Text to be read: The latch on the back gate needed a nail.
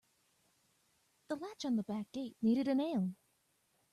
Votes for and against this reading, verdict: 2, 0, accepted